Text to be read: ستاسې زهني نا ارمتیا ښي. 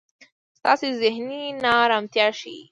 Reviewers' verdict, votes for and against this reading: accepted, 2, 0